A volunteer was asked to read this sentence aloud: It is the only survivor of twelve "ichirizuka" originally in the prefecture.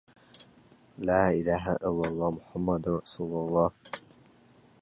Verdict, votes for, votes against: rejected, 0, 2